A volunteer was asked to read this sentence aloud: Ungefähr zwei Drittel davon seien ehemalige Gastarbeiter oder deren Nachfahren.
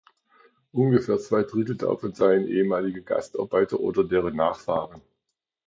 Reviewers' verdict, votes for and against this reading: accepted, 2, 0